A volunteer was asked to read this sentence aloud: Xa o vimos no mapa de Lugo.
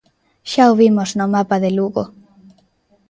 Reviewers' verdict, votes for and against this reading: accepted, 2, 0